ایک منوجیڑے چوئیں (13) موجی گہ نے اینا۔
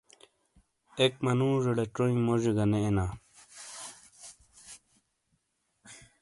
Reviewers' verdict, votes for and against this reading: rejected, 0, 2